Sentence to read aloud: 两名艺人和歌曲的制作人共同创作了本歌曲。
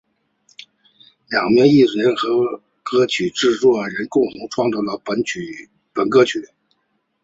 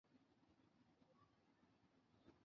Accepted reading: first